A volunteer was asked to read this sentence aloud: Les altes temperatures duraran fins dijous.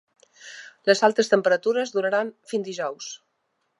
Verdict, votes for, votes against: accepted, 3, 0